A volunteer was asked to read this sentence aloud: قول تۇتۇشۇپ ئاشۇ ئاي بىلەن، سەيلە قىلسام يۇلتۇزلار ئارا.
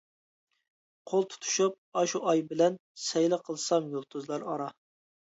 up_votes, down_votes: 2, 0